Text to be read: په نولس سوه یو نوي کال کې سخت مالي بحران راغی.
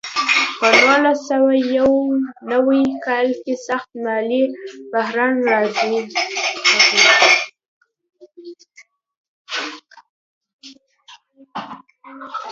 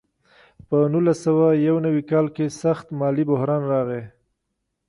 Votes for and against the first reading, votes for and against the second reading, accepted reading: 0, 2, 2, 1, second